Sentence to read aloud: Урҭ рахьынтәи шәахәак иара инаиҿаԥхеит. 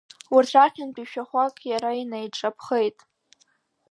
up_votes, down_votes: 2, 0